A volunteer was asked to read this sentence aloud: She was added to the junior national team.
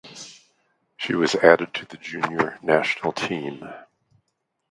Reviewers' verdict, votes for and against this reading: accepted, 2, 0